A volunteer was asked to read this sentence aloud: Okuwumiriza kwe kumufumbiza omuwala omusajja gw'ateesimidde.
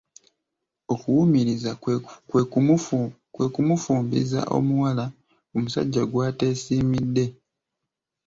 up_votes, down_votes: 2, 0